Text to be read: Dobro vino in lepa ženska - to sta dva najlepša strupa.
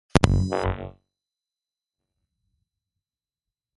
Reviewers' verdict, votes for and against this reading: rejected, 0, 2